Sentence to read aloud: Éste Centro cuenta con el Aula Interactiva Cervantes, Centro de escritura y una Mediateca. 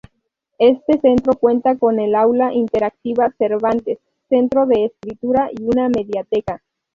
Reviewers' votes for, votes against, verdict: 0, 2, rejected